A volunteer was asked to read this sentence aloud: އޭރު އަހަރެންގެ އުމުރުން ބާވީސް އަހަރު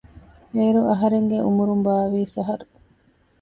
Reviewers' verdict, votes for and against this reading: accepted, 2, 0